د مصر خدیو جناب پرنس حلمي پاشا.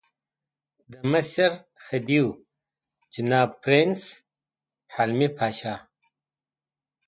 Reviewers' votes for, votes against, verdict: 2, 1, accepted